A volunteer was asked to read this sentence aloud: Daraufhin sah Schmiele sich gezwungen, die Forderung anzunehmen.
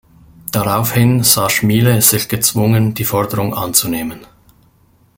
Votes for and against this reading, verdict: 2, 1, accepted